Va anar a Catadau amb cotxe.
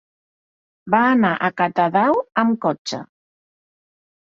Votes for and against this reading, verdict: 1, 2, rejected